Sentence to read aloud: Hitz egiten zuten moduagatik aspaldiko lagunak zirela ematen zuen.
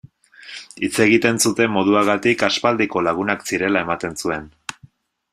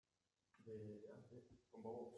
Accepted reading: first